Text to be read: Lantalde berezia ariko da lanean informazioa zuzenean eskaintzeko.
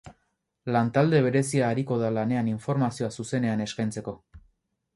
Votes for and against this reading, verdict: 4, 0, accepted